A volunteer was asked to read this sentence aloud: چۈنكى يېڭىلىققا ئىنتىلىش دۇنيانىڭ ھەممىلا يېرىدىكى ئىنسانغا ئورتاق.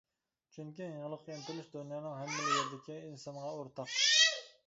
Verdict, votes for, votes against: rejected, 1, 2